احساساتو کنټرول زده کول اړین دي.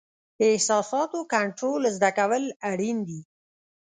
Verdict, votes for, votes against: rejected, 0, 2